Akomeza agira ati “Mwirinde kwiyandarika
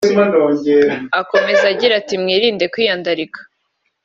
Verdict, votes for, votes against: accepted, 2, 0